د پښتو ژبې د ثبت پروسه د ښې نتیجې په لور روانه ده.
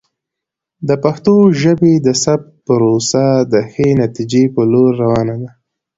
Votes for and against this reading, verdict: 2, 0, accepted